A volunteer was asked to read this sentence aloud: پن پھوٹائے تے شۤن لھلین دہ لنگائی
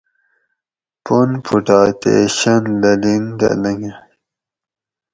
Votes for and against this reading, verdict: 2, 2, rejected